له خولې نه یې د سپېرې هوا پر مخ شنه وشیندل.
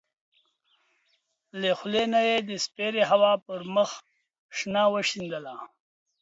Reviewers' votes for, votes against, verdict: 1, 2, rejected